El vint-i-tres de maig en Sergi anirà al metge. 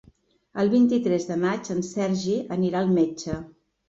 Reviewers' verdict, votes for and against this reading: accepted, 3, 0